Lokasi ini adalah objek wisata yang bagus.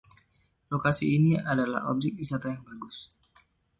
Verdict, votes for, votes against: accepted, 2, 1